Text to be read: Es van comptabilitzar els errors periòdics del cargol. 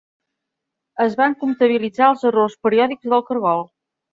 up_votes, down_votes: 2, 1